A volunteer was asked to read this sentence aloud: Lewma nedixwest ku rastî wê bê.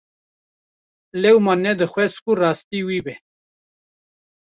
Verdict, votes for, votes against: rejected, 1, 2